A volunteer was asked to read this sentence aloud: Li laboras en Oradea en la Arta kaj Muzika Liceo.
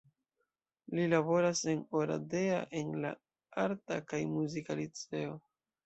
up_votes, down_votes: 2, 0